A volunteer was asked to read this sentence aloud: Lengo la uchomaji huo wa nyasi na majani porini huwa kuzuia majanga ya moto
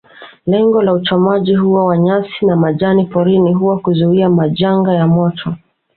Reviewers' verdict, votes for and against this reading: accepted, 2, 0